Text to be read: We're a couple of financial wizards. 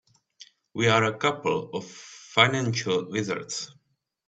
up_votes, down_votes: 0, 2